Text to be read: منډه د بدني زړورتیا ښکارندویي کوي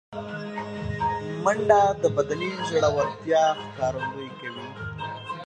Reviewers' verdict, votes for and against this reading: rejected, 1, 2